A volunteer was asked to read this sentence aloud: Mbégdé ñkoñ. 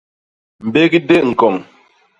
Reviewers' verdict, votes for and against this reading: accepted, 2, 0